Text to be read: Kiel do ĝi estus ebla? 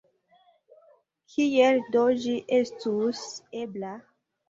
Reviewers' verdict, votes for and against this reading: rejected, 1, 2